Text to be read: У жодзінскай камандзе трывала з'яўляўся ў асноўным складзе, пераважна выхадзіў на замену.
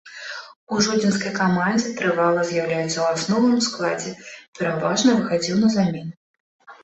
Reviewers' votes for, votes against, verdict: 0, 2, rejected